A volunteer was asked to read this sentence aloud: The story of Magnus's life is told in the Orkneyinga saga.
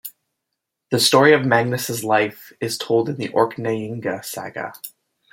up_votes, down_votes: 1, 2